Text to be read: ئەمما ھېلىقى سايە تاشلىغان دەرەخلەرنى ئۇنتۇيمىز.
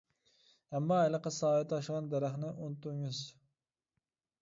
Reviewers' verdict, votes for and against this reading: rejected, 0, 2